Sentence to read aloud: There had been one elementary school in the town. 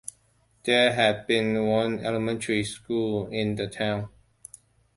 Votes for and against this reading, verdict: 2, 0, accepted